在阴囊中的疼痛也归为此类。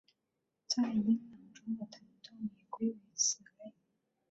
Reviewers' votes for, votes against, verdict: 3, 4, rejected